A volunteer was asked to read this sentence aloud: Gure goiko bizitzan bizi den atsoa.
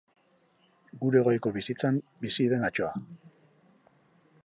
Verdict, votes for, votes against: accepted, 4, 0